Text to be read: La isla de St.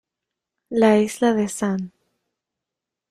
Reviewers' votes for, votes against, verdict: 1, 2, rejected